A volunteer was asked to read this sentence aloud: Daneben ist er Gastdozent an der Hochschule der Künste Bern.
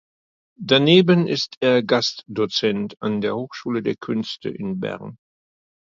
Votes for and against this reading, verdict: 1, 2, rejected